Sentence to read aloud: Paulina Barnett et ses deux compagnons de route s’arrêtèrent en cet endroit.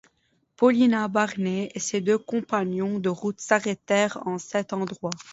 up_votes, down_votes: 1, 2